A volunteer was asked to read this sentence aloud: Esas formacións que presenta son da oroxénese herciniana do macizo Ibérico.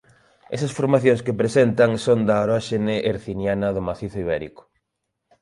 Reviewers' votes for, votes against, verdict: 0, 2, rejected